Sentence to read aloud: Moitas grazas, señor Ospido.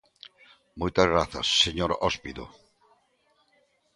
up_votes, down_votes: 0, 2